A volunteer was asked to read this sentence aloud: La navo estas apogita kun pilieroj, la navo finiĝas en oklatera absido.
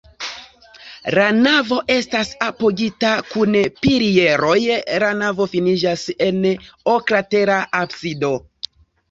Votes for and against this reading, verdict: 2, 0, accepted